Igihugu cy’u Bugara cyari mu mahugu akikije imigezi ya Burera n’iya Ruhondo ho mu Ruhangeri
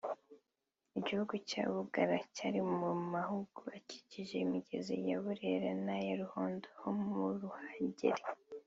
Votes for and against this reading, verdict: 1, 2, rejected